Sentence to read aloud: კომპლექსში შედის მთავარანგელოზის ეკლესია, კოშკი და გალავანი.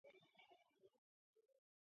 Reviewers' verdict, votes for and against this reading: rejected, 0, 2